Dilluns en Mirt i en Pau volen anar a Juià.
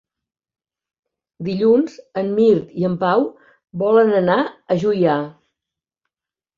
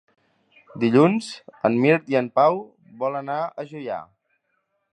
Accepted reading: first